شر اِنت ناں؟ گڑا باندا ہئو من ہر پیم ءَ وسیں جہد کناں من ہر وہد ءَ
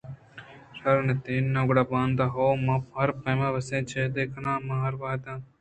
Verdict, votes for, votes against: accepted, 2, 1